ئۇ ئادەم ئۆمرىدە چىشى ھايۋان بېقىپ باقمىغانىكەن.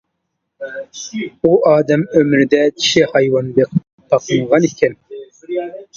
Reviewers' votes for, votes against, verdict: 1, 2, rejected